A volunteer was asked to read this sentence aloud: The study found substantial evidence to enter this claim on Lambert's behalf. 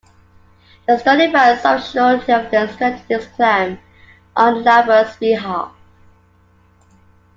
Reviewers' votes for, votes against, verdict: 0, 2, rejected